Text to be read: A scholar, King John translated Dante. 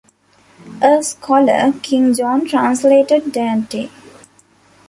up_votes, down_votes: 2, 1